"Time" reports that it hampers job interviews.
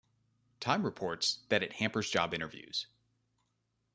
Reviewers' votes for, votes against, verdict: 2, 0, accepted